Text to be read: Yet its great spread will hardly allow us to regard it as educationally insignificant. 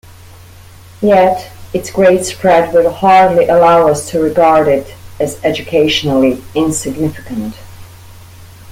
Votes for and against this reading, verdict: 2, 0, accepted